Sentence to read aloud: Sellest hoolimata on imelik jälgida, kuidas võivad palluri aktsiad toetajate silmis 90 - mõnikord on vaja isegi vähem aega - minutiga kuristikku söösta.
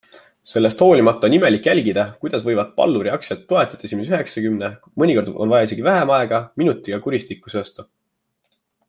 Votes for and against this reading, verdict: 0, 2, rejected